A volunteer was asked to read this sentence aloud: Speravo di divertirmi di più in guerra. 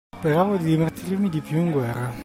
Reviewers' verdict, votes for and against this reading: accepted, 3, 0